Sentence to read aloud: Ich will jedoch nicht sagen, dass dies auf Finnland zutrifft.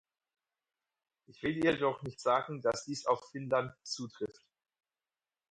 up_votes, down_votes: 2, 4